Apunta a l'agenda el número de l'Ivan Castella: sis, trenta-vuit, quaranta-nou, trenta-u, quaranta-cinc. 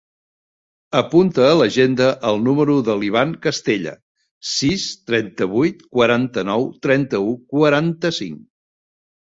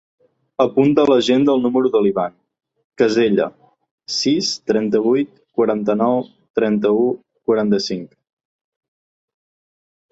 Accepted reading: first